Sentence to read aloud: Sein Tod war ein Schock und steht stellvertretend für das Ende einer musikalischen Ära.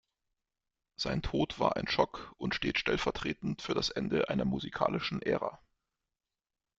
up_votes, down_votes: 2, 0